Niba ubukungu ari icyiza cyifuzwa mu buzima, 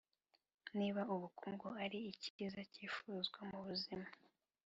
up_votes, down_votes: 2, 0